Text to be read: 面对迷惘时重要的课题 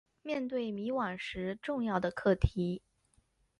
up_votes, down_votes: 0, 2